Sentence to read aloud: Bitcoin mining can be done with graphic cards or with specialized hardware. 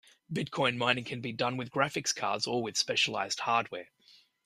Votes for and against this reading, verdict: 0, 2, rejected